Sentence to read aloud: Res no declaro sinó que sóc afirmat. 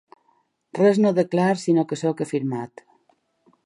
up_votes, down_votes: 3, 1